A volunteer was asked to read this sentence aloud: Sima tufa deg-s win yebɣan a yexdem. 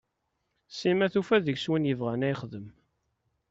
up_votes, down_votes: 2, 0